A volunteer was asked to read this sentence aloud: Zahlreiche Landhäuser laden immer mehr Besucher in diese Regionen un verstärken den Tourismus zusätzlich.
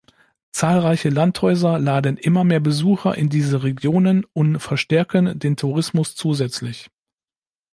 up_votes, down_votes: 2, 0